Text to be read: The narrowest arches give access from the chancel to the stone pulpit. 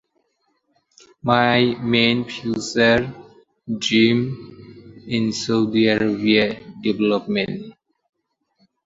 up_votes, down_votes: 0, 2